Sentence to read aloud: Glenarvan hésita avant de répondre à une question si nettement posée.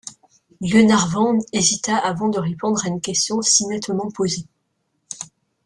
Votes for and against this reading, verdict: 2, 0, accepted